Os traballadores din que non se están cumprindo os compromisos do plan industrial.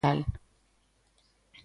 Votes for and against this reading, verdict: 0, 2, rejected